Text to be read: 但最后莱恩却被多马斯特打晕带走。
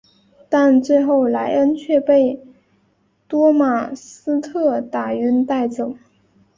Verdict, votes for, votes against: accepted, 3, 1